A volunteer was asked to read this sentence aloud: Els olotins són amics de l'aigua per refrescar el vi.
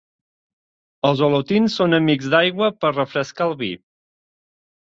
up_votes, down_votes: 0, 2